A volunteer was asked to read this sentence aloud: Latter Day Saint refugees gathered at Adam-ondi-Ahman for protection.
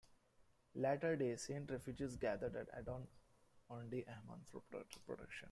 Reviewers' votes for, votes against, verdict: 1, 2, rejected